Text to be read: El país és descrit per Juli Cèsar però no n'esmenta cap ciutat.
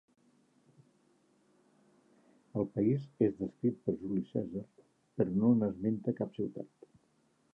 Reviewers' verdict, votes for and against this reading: rejected, 1, 2